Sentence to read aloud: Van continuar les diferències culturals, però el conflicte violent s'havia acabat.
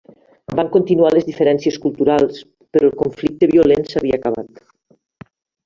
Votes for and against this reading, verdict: 1, 2, rejected